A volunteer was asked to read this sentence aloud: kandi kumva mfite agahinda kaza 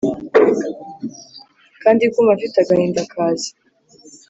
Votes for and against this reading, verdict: 2, 0, accepted